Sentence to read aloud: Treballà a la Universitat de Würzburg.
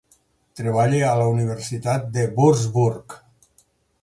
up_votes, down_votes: 0, 4